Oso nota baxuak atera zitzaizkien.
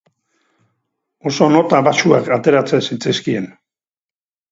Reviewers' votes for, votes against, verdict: 2, 2, rejected